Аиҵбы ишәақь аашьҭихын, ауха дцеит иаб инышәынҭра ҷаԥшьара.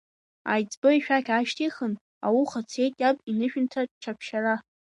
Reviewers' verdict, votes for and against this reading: rejected, 0, 2